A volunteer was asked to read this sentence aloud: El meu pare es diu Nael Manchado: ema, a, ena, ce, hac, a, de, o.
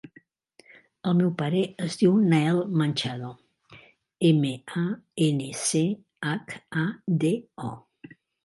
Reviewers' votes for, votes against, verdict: 2, 3, rejected